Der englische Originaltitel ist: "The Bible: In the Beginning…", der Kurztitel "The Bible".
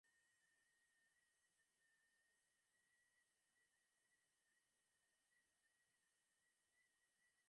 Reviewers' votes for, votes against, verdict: 0, 2, rejected